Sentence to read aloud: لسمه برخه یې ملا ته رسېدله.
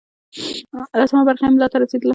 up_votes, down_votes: 1, 2